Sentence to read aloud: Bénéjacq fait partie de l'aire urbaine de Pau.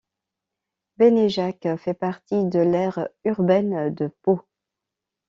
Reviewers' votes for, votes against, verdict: 2, 0, accepted